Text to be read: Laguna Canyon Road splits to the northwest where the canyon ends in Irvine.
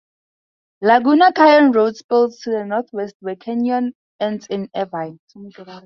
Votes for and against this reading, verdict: 0, 2, rejected